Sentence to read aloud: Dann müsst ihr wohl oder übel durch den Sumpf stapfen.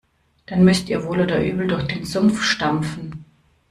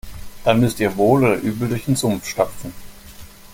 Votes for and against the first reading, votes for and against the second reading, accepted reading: 0, 2, 2, 0, second